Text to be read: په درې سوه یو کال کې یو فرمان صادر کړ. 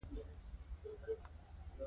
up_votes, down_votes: 2, 3